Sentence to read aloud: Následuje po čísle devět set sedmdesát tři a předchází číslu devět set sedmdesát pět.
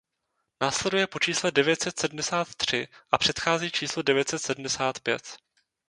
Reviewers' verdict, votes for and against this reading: accepted, 2, 0